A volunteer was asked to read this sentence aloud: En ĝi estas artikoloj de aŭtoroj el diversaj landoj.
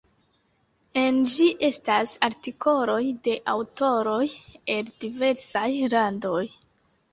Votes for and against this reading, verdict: 1, 2, rejected